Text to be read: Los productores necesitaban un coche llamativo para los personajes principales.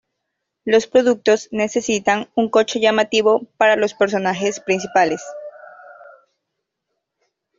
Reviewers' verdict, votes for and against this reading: rejected, 0, 2